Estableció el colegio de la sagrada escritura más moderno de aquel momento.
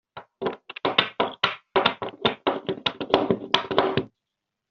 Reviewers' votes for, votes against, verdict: 0, 2, rejected